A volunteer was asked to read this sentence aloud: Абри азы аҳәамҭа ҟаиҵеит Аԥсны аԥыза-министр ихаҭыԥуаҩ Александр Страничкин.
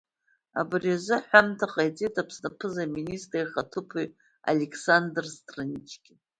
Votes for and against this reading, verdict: 2, 0, accepted